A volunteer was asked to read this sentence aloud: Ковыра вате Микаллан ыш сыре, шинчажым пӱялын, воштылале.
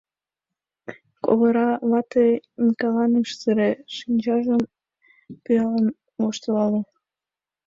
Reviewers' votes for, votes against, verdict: 2, 1, accepted